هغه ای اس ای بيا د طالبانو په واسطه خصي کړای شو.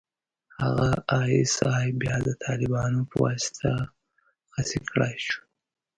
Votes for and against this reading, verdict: 0, 2, rejected